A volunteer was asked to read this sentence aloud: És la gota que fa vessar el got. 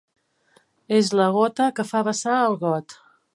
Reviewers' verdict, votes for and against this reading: accepted, 4, 0